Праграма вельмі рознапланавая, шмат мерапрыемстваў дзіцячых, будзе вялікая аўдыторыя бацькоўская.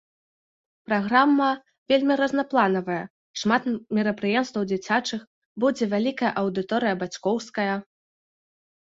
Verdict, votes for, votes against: rejected, 0, 2